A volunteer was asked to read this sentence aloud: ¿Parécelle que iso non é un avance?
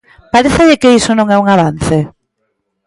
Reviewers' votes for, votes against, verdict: 2, 1, accepted